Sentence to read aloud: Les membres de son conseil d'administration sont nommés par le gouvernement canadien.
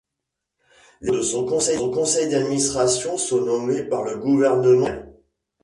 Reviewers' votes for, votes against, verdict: 0, 2, rejected